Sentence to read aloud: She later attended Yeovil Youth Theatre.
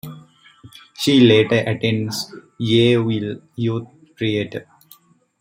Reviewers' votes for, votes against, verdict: 0, 2, rejected